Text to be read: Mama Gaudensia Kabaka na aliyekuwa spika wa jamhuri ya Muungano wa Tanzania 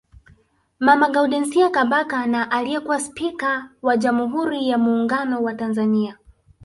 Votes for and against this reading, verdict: 2, 1, accepted